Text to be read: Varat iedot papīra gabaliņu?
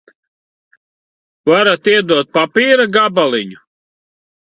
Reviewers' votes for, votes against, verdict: 2, 0, accepted